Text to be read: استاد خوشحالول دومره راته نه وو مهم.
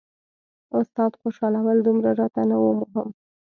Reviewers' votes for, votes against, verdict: 2, 0, accepted